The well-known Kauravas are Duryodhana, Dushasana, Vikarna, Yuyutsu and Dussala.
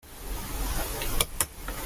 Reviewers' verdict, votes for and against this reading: rejected, 0, 2